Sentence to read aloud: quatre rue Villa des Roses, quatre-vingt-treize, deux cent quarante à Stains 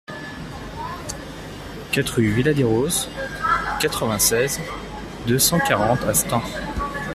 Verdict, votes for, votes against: rejected, 0, 2